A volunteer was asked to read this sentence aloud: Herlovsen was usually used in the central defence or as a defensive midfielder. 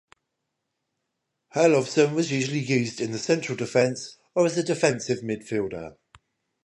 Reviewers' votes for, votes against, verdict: 10, 0, accepted